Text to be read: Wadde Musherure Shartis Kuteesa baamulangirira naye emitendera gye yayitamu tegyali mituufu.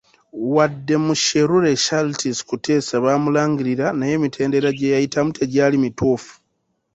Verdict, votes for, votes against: accepted, 2, 0